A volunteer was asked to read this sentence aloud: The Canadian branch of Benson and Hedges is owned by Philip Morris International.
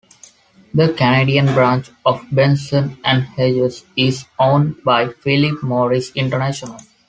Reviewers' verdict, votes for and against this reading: accepted, 2, 0